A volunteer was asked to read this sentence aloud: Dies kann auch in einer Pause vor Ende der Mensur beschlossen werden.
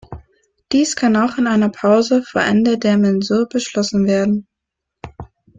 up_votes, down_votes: 2, 0